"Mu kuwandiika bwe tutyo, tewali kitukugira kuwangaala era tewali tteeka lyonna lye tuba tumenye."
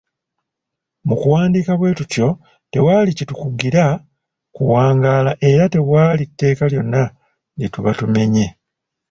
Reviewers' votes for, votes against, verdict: 0, 2, rejected